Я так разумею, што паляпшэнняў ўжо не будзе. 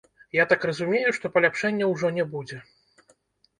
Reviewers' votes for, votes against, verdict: 2, 0, accepted